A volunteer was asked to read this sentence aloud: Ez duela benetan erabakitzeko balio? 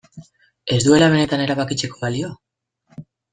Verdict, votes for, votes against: accepted, 2, 0